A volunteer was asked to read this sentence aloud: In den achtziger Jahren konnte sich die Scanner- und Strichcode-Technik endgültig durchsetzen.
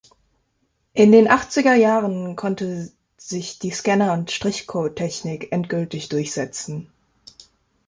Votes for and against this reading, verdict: 2, 0, accepted